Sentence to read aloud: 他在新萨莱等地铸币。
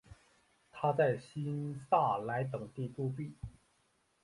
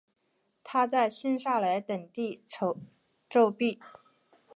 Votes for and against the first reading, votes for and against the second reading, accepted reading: 4, 1, 1, 2, first